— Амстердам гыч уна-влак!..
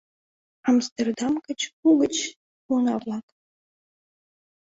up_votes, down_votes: 1, 2